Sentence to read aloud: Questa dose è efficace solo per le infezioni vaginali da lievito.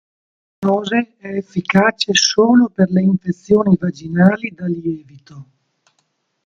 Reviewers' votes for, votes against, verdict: 0, 2, rejected